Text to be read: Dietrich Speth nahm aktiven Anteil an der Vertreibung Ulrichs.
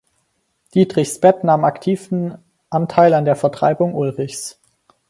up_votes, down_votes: 2, 4